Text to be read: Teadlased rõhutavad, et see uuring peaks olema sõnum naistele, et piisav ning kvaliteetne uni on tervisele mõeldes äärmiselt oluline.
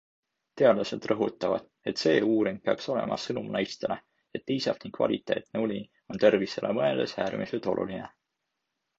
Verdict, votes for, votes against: accepted, 2, 0